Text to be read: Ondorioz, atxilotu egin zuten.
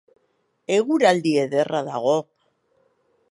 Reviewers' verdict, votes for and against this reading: rejected, 0, 2